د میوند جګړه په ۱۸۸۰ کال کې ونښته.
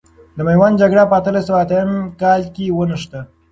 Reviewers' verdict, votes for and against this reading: rejected, 0, 2